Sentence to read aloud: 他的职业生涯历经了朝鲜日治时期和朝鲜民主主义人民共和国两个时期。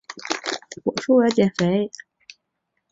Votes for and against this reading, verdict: 1, 2, rejected